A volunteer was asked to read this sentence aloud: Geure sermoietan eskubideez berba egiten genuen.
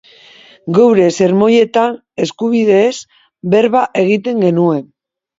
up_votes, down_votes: 2, 0